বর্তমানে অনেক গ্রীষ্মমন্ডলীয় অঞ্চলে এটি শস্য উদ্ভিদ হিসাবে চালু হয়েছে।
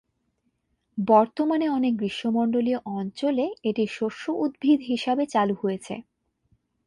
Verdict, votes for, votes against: accepted, 2, 0